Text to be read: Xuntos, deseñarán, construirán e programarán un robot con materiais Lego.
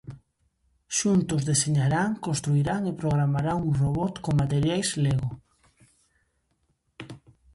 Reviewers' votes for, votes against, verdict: 2, 0, accepted